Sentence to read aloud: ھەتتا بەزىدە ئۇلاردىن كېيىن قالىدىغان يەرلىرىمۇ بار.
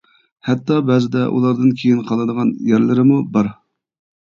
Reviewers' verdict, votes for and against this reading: rejected, 0, 2